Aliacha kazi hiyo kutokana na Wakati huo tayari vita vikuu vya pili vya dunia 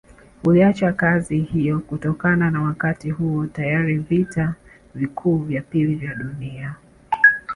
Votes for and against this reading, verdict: 1, 2, rejected